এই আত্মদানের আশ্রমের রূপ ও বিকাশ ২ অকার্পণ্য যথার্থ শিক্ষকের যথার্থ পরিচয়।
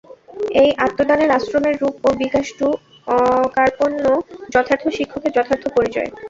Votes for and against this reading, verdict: 0, 2, rejected